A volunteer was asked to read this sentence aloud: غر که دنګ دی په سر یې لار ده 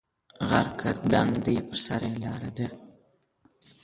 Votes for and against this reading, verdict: 1, 2, rejected